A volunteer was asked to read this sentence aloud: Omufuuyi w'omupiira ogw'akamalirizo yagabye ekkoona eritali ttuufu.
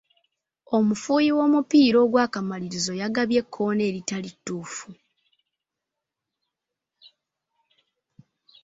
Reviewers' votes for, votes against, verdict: 2, 0, accepted